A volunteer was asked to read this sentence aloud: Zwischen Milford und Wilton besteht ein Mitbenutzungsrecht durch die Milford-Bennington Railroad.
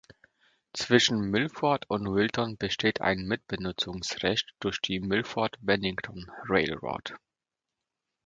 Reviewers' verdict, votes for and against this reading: rejected, 1, 2